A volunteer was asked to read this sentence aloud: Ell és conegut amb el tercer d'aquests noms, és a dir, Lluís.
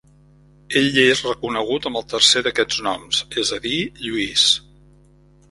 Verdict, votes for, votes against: rejected, 0, 2